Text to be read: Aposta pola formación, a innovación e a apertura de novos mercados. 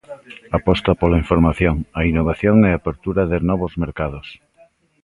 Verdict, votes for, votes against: rejected, 0, 2